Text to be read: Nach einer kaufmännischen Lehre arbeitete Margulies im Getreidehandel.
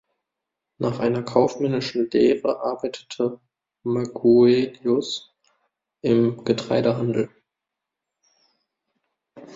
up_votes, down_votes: 0, 2